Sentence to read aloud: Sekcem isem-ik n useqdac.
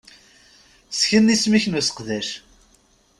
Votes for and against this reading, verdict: 1, 2, rejected